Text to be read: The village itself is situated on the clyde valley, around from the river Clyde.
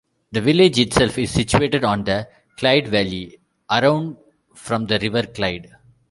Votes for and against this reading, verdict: 1, 2, rejected